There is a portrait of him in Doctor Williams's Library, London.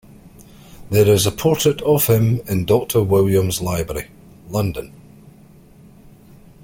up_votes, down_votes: 6, 1